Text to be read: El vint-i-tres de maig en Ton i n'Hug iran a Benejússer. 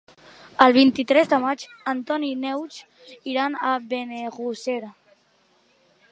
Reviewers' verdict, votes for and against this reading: rejected, 0, 2